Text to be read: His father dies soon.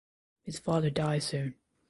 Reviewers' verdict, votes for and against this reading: accepted, 2, 0